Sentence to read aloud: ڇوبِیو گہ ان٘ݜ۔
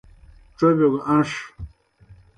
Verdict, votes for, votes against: accepted, 2, 0